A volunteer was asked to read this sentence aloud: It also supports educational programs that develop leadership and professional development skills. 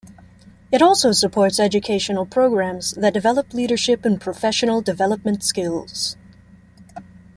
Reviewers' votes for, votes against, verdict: 2, 0, accepted